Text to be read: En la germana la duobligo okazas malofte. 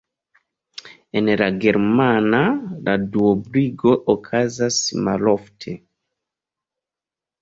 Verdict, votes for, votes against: rejected, 1, 2